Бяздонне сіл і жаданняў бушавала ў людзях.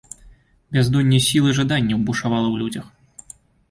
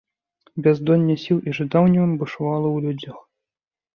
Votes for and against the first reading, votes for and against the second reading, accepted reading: 2, 0, 0, 2, first